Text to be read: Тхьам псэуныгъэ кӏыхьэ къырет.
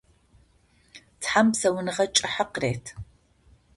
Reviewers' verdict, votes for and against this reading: accepted, 2, 0